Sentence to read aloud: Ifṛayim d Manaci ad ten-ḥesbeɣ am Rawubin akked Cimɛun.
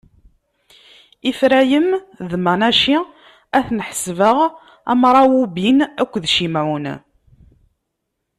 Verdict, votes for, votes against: accepted, 2, 0